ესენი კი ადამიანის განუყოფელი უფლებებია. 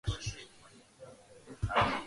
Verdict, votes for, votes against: rejected, 0, 3